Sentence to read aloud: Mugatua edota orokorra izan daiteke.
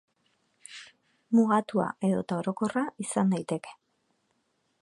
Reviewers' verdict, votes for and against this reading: accepted, 2, 0